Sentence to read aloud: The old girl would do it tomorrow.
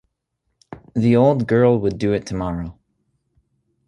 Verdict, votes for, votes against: accepted, 2, 0